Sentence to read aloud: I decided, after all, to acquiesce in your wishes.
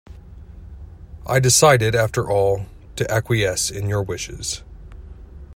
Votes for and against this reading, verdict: 2, 0, accepted